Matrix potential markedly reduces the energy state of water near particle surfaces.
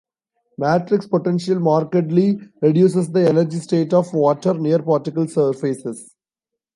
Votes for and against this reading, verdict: 2, 0, accepted